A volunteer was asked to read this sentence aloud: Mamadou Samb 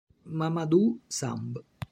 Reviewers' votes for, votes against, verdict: 3, 0, accepted